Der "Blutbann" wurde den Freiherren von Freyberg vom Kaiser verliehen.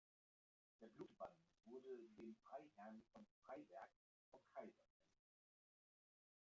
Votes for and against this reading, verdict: 1, 2, rejected